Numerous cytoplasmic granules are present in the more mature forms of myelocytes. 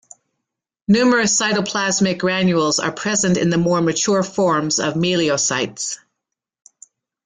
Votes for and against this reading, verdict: 0, 2, rejected